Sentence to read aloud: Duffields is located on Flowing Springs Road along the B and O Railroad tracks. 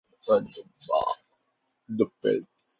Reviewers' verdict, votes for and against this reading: rejected, 0, 2